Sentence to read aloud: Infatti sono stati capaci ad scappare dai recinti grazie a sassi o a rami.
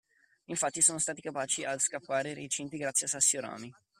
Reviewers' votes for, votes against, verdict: 2, 0, accepted